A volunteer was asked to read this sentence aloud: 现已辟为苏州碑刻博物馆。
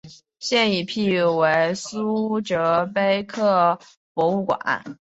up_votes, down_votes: 2, 2